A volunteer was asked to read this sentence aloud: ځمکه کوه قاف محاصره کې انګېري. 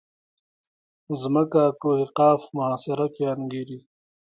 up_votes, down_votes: 2, 1